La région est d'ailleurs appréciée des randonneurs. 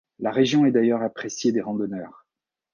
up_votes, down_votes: 2, 0